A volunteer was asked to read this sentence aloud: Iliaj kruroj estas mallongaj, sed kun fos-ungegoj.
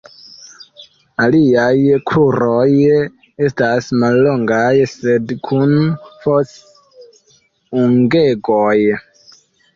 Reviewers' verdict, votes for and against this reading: rejected, 1, 2